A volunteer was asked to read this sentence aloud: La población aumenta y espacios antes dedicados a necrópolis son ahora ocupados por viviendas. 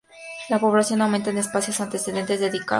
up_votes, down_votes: 0, 2